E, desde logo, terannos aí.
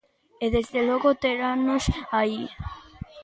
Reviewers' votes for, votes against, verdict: 2, 0, accepted